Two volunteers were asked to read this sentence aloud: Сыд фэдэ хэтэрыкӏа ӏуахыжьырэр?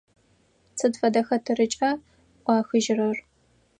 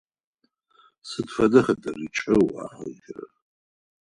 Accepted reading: first